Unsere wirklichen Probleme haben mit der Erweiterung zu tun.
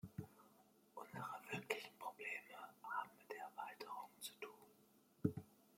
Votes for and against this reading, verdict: 2, 0, accepted